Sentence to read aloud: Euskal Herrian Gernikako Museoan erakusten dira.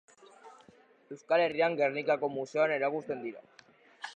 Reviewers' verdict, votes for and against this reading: rejected, 2, 2